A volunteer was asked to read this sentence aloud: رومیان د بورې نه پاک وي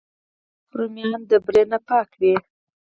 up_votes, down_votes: 0, 4